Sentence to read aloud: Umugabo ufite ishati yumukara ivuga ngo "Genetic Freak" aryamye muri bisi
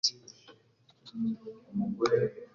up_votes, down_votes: 0, 2